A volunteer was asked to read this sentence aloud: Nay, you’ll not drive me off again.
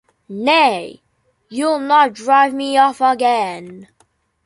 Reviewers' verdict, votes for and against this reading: accepted, 2, 0